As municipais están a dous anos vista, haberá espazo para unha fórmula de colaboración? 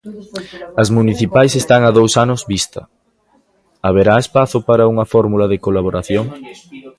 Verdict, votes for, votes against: rejected, 0, 3